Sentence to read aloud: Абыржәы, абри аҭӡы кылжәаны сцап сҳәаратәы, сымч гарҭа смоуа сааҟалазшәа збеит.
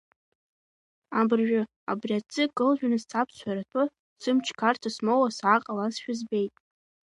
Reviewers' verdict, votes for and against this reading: accepted, 3, 0